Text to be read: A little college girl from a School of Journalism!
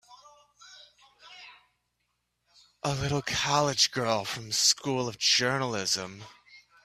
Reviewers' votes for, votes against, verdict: 1, 2, rejected